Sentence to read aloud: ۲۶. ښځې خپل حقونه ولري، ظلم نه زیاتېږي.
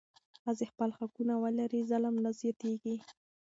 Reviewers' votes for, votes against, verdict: 0, 2, rejected